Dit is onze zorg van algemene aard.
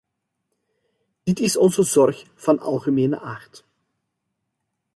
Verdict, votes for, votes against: rejected, 1, 2